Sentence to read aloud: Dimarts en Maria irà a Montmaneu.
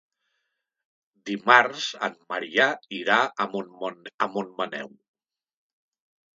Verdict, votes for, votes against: rejected, 0, 2